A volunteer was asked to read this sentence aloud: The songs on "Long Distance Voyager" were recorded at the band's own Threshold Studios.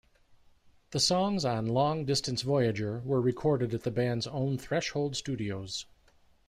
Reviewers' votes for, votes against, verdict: 2, 0, accepted